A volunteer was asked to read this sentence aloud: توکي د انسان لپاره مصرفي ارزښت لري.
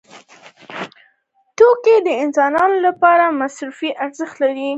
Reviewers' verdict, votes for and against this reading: accepted, 2, 0